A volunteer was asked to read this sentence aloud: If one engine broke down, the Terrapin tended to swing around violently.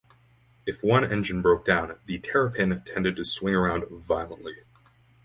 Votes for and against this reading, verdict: 4, 0, accepted